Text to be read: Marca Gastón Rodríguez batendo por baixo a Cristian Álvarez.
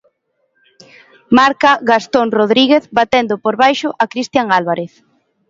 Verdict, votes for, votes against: accepted, 2, 1